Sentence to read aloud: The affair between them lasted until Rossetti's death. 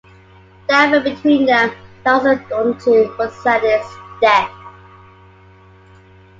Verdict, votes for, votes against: rejected, 0, 2